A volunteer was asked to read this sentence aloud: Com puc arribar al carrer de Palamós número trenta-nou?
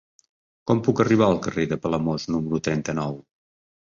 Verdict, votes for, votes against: accepted, 4, 0